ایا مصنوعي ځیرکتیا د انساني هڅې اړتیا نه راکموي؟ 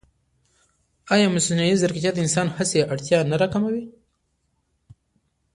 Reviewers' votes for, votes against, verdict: 2, 1, accepted